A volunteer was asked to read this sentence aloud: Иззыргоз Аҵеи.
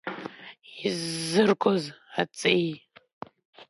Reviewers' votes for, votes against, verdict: 2, 0, accepted